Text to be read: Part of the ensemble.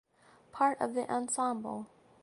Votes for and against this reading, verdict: 2, 0, accepted